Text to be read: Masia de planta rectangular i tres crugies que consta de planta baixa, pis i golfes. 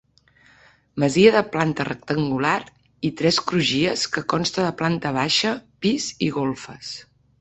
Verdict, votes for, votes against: accepted, 3, 0